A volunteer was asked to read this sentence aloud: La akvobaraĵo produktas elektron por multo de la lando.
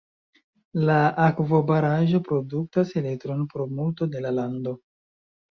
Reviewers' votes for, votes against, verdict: 2, 0, accepted